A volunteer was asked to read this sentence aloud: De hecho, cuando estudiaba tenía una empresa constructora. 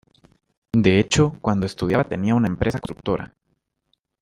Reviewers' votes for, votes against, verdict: 1, 2, rejected